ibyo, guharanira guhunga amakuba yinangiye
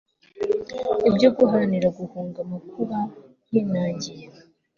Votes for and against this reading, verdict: 2, 0, accepted